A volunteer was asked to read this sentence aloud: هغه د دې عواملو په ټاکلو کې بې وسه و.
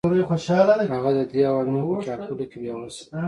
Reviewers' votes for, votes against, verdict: 1, 2, rejected